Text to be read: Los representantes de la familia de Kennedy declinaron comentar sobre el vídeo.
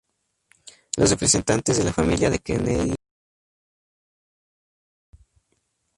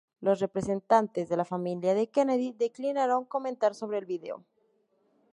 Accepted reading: second